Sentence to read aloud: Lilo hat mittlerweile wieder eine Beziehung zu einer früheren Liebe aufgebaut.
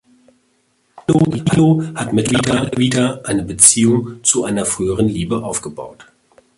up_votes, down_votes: 0, 2